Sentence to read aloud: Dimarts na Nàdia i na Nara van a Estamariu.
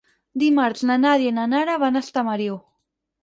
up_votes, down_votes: 6, 0